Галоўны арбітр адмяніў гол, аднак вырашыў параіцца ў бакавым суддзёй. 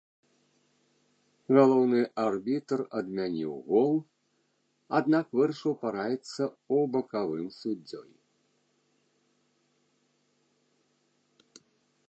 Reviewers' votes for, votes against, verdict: 1, 2, rejected